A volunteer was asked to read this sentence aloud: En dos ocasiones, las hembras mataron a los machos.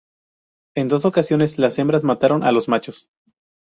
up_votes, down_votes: 2, 0